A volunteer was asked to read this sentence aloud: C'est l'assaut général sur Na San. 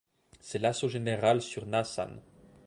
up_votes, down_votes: 2, 0